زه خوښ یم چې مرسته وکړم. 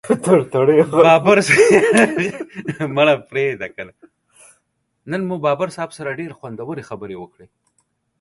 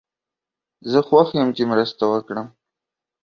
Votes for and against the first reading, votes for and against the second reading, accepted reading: 0, 2, 2, 1, second